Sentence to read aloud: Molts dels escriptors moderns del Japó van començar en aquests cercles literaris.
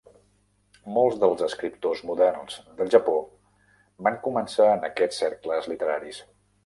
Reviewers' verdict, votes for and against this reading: accepted, 3, 0